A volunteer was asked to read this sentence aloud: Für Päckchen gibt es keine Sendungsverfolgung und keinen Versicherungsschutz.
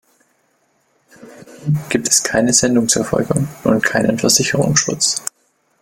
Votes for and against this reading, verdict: 0, 2, rejected